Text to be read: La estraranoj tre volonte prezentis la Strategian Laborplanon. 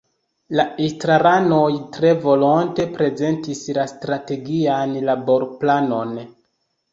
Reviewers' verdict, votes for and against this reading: accepted, 2, 0